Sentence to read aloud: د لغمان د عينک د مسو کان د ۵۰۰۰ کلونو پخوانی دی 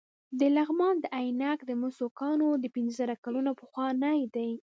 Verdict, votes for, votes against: rejected, 0, 2